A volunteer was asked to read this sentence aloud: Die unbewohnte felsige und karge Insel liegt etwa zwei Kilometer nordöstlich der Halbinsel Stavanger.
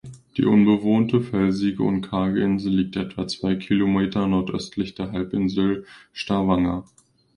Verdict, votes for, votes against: accepted, 2, 0